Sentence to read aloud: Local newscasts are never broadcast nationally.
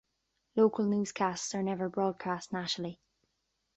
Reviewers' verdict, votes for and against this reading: accepted, 2, 0